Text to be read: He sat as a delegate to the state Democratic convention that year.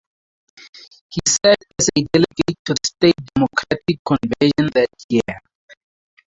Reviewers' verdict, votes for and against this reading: rejected, 2, 2